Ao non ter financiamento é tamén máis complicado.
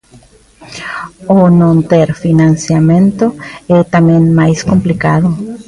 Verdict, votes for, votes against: rejected, 0, 2